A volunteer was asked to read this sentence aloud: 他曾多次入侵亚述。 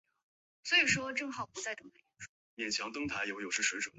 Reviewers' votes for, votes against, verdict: 0, 2, rejected